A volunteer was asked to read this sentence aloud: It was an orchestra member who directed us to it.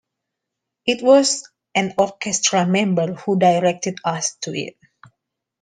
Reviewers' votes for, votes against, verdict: 2, 0, accepted